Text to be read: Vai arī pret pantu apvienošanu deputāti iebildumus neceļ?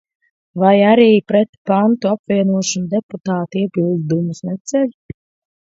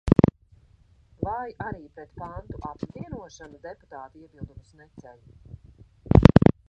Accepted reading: first